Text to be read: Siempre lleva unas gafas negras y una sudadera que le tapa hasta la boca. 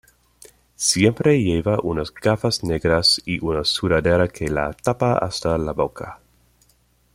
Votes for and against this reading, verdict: 1, 2, rejected